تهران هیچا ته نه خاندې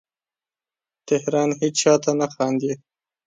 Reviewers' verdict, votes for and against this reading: rejected, 0, 2